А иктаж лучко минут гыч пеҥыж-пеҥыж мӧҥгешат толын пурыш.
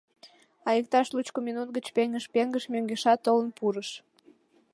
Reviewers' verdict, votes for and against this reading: accepted, 2, 0